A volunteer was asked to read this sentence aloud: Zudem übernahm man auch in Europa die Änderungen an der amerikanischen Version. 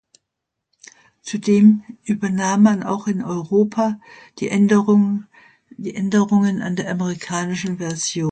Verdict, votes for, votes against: rejected, 0, 2